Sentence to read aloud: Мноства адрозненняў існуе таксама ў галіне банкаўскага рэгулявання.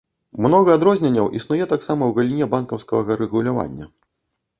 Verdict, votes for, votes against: rejected, 0, 2